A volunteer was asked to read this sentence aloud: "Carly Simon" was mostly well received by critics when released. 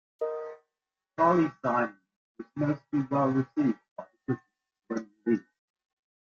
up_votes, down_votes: 0, 2